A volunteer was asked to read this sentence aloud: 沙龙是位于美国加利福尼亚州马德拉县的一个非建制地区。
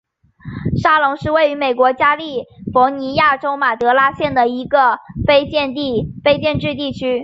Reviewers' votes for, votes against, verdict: 2, 3, rejected